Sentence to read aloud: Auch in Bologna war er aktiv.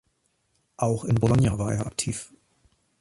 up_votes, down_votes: 2, 0